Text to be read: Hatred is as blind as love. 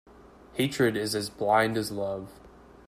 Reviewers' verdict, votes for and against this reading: accepted, 2, 1